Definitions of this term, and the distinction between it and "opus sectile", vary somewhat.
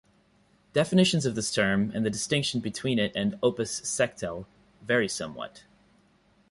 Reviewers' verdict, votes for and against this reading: accepted, 2, 0